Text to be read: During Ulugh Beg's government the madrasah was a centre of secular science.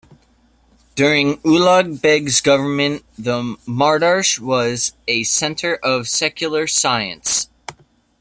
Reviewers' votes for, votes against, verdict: 0, 2, rejected